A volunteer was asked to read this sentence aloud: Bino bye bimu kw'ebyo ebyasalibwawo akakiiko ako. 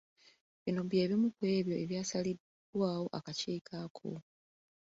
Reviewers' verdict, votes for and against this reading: accepted, 2, 1